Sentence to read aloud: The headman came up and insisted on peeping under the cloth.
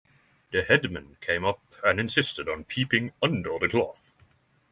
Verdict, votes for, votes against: accepted, 6, 0